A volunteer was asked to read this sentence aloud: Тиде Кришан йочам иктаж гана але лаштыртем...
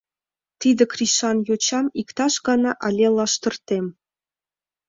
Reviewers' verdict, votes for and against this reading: rejected, 1, 2